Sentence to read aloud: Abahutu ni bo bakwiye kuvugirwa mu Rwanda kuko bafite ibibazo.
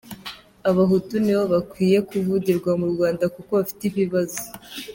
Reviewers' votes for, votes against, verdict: 2, 0, accepted